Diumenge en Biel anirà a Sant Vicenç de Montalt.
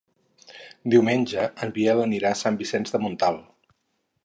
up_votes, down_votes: 4, 0